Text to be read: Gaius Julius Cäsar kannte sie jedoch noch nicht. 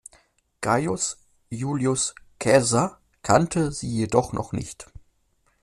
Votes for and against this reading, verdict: 1, 2, rejected